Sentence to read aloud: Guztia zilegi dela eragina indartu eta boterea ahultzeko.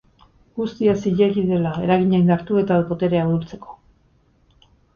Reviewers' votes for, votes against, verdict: 4, 0, accepted